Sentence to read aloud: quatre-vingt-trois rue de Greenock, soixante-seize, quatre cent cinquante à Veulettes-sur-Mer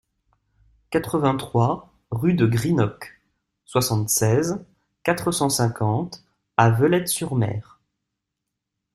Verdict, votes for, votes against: accepted, 2, 0